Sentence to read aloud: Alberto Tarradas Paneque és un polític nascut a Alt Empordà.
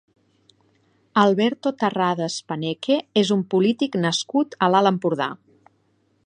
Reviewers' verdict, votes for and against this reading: rejected, 2, 3